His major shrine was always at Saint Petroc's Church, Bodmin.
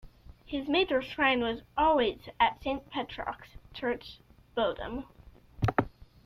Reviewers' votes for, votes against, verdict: 1, 2, rejected